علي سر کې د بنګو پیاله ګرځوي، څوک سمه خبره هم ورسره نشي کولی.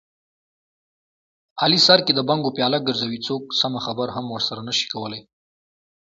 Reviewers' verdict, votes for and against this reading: accepted, 2, 0